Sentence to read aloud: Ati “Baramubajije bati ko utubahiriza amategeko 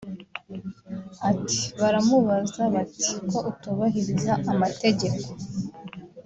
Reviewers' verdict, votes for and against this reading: rejected, 0, 2